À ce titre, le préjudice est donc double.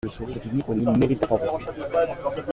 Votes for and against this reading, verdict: 0, 2, rejected